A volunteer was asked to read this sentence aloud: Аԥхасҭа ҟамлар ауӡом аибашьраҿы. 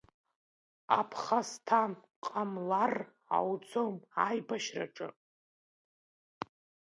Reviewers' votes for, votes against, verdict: 0, 2, rejected